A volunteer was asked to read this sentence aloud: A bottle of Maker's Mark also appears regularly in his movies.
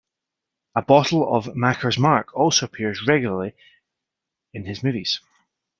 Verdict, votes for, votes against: rejected, 0, 2